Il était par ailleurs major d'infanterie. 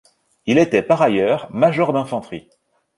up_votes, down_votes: 2, 0